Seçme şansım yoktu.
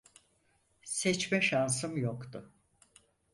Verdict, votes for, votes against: accepted, 4, 0